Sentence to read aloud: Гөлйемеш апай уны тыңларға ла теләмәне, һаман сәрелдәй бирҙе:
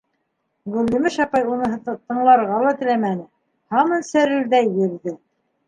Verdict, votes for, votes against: accepted, 2, 1